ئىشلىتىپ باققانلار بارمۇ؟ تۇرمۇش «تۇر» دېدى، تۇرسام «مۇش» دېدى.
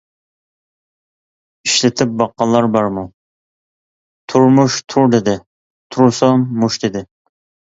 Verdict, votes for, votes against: accepted, 2, 0